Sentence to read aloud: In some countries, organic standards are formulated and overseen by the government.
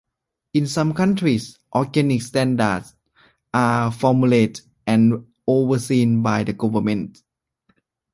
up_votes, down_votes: 2, 0